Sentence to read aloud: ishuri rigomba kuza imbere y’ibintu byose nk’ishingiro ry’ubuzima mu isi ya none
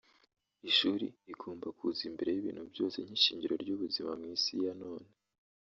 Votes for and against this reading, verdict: 1, 2, rejected